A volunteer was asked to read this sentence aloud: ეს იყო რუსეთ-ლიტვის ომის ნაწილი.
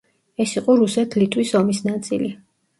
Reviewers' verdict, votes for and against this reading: accepted, 2, 0